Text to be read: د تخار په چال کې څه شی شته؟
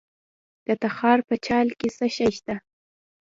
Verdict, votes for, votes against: rejected, 0, 2